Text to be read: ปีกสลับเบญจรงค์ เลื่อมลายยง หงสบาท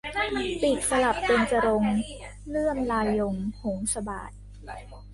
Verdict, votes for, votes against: rejected, 0, 3